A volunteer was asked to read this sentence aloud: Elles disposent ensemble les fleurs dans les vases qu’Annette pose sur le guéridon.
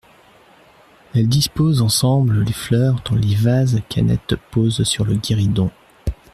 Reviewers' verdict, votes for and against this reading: accepted, 2, 0